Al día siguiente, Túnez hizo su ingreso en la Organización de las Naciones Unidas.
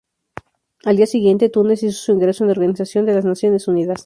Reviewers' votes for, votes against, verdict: 0, 2, rejected